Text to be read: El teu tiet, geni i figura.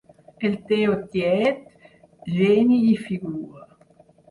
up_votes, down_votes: 0, 4